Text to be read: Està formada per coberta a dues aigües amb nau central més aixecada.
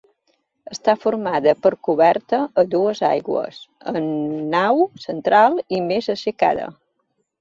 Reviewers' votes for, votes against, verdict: 0, 2, rejected